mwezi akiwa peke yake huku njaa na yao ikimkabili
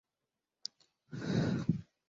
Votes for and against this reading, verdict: 0, 4, rejected